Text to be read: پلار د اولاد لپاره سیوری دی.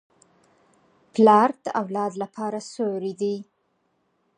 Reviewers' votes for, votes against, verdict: 4, 0, accepted